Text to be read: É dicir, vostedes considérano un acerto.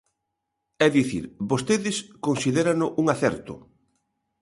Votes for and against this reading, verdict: 2, 0, accepted